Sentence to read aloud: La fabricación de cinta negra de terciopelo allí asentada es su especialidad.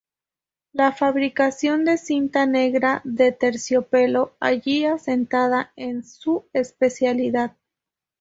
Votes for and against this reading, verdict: 2, 0, accepted